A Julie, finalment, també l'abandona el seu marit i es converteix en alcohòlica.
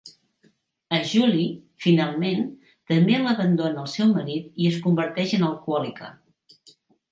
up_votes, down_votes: 2, 0